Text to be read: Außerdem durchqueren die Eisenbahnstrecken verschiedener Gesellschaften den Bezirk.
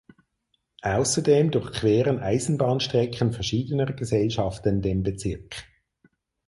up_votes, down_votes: 2, 4